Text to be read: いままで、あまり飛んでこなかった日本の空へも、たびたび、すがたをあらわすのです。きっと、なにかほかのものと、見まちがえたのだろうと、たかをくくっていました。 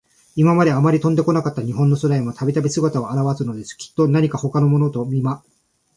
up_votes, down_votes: 1, 2